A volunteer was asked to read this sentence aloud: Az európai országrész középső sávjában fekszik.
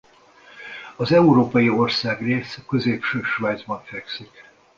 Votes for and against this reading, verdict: 0, 2, rejected